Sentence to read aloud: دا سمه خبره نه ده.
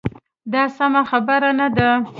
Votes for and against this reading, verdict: 2, 0, accepted